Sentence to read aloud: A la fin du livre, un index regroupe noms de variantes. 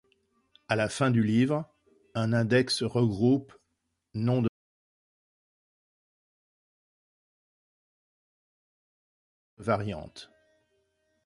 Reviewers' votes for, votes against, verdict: 0, 2, rejected